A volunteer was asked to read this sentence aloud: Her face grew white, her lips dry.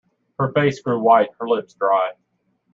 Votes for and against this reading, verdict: 2, 0, accepted